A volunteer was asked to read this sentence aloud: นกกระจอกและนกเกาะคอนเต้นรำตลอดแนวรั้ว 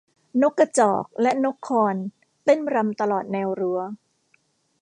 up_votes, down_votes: 0, 2